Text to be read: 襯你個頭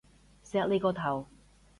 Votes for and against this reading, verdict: 0, 2, rejected